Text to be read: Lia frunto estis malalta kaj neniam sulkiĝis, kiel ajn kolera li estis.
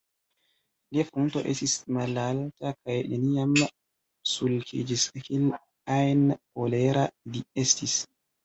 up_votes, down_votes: 0, 2